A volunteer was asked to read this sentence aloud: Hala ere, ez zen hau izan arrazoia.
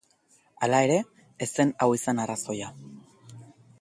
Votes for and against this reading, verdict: 2, 0, accepted